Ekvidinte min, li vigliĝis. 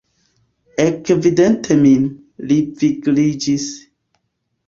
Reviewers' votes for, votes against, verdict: 0, 2, rejected